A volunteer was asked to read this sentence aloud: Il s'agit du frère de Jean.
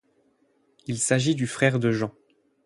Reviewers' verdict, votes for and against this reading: accepted, 8, 0